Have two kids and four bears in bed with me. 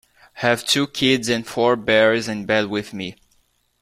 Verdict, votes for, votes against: accepted, 2, 0